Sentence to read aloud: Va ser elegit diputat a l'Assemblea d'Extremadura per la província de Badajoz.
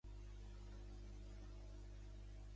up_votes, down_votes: 0, 2